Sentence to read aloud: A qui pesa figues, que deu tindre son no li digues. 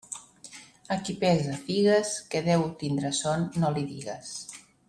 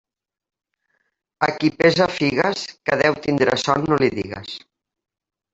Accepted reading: first